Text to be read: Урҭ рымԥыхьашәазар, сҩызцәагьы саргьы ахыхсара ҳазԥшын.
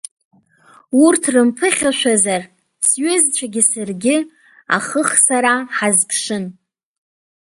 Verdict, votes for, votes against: accepted, 2, 0